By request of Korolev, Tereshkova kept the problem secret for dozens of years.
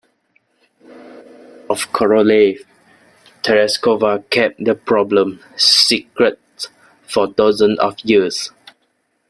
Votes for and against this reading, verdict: 0, 2, rejected